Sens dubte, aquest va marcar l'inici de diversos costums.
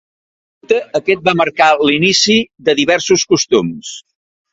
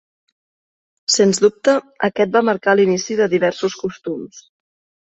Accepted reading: second